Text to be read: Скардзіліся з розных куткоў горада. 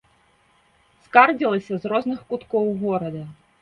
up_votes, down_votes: 1, 2